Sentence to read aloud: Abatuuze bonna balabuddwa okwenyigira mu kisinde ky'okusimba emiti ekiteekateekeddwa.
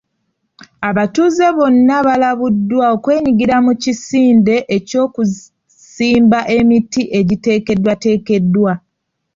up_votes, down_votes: 1, 2